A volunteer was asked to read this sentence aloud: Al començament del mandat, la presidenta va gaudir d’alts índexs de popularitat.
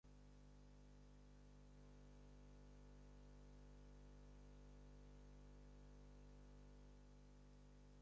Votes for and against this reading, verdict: 2, 4, rejected